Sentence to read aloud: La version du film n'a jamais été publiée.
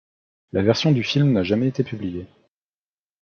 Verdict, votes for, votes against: accepted, 2, 0